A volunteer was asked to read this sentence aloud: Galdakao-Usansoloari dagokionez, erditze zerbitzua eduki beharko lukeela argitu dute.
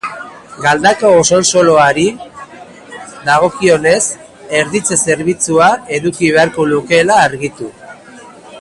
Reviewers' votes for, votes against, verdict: 0, 2, rejected